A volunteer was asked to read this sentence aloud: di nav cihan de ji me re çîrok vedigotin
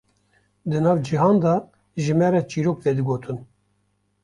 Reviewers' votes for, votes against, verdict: 2, 0, accepted